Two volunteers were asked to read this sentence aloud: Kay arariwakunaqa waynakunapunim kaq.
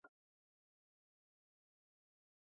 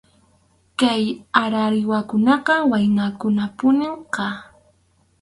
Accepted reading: second